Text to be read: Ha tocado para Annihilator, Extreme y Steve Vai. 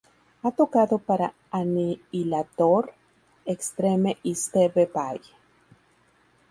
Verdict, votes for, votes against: rejected, 2, 2